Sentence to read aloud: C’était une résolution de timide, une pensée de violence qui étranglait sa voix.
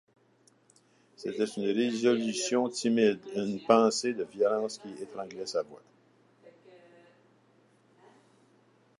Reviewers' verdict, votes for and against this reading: rejected, 0, 2